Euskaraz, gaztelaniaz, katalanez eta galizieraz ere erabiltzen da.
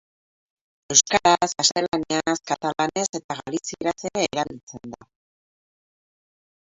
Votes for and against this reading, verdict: 0, 4, rejected